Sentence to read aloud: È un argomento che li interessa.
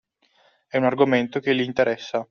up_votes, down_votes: 2, 0